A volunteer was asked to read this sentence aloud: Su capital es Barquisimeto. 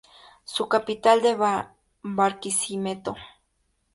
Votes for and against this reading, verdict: 0, 2, rejected